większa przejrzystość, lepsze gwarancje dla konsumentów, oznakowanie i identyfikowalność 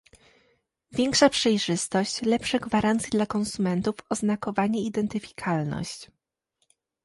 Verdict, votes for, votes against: rejected, 1, 2